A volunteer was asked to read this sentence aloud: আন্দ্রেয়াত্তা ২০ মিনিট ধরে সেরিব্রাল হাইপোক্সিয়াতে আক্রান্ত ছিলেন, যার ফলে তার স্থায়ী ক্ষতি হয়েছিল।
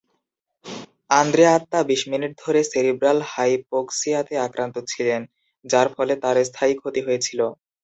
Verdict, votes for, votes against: rejected, 0, 2